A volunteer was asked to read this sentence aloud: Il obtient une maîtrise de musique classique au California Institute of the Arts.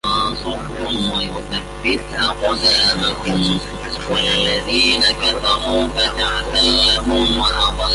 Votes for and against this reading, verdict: 0, 2, rejected